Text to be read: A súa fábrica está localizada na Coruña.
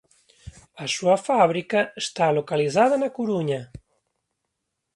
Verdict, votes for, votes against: accepted, 2, 1